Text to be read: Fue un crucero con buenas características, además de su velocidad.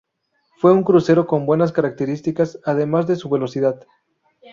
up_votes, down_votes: 2, 0